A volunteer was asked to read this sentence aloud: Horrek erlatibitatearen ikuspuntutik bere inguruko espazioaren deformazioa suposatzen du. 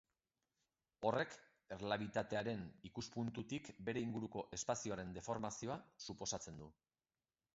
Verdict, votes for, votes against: rejected, 2, 3